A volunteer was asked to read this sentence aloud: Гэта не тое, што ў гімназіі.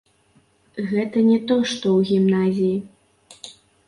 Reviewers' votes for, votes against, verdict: 1, 3, rejected